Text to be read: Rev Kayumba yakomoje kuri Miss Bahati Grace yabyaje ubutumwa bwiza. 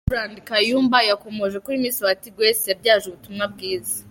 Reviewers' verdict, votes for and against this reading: accepted, 2, 1